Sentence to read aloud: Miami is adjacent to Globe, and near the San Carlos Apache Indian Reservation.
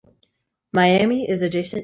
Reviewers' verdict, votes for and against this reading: rejected, 0, 2